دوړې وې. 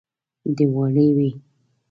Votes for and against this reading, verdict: 1, 2, rejected